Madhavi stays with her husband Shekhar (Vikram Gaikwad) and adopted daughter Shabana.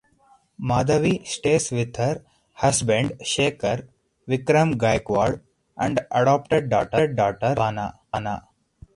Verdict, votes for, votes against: rejected, 0, 4